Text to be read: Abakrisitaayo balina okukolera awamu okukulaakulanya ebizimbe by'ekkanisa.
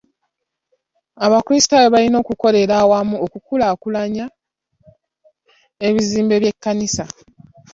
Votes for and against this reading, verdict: 2, 0, accepted